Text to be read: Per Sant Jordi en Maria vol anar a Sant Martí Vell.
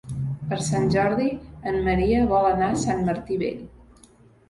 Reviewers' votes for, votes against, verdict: 2, 0, accepted